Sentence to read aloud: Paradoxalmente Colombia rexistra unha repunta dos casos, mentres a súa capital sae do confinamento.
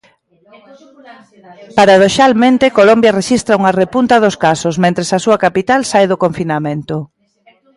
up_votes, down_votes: 2, 0